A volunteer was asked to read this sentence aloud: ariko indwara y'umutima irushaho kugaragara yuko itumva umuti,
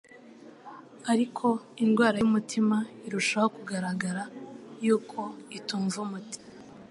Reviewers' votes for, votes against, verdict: 2, 0, accepted